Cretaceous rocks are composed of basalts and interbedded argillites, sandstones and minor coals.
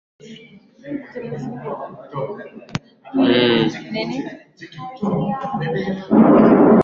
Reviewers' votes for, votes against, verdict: 0, 2, rejected